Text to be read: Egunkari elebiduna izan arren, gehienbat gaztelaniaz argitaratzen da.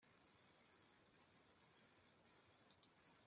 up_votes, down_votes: 0, 2